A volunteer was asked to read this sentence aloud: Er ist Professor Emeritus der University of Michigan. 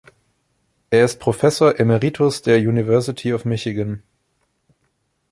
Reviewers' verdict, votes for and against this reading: rejected, 1, 2